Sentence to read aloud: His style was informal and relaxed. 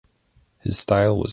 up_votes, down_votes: 0, 2